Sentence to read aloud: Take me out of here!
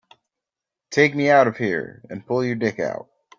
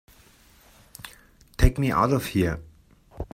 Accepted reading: second